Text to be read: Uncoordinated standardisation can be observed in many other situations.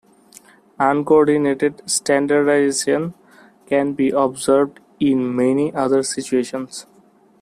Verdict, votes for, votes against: rejected, 1, 2